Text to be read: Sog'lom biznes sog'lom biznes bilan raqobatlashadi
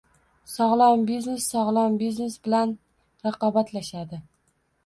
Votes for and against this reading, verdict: 2, 0, accepted